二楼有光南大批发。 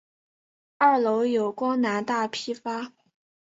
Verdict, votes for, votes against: accepted, 3, 0